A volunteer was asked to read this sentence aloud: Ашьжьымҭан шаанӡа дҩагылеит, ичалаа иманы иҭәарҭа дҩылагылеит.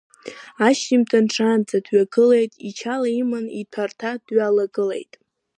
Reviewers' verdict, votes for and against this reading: rejected, 1, 2